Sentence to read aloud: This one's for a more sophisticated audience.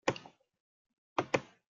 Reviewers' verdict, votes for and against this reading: rejected, 0, 2